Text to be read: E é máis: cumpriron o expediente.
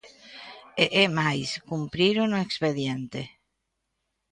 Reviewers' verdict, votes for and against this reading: accepted, 2, 0